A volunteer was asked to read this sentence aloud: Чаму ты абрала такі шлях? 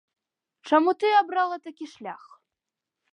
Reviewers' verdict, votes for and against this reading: accepted, 2, 0